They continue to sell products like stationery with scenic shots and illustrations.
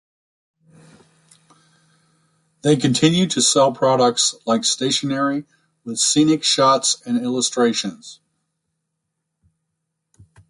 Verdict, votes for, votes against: accepted, 3, 0